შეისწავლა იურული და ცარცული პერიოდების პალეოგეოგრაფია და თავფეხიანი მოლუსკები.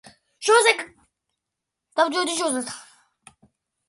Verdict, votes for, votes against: rejected, 0, 2